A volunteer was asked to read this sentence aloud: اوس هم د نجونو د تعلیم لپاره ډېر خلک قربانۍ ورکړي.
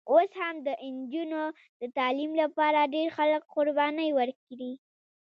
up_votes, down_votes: 2, 1